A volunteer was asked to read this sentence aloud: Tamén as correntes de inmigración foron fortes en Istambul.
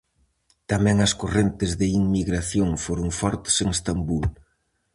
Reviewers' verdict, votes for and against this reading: rejected, 2, 2